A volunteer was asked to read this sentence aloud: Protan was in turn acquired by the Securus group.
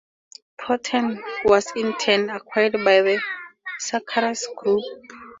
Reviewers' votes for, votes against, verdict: 2, 2, rejected